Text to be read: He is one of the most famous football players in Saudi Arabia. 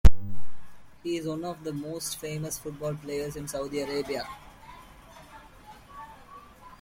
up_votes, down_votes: 2, 1